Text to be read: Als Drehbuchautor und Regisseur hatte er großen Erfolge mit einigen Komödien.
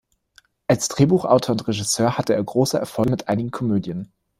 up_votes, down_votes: 1, 2